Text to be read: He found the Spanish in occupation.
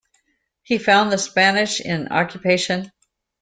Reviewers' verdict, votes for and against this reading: accepted, 2, 0